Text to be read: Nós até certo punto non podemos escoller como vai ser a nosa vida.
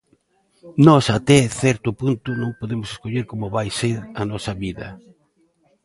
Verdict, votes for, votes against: accepted, 2, 0